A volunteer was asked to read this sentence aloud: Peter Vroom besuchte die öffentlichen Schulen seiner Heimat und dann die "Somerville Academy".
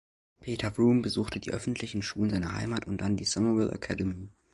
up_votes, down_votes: 2, 1